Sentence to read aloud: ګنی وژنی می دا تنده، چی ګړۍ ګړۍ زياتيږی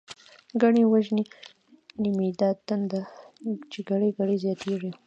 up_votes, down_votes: 2, 1